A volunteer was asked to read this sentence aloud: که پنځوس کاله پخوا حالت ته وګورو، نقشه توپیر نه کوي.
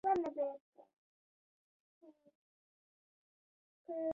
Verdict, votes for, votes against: rejected, 1, 2